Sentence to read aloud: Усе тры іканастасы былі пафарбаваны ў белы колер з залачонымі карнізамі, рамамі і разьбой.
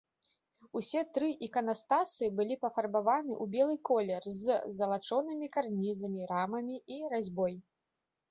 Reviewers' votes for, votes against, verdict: 2, 0, accepted